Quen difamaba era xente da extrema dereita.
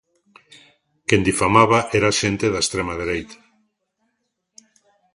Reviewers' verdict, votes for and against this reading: rejected, 0, 2